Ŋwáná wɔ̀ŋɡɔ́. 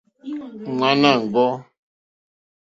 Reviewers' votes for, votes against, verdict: 2, 0, accepted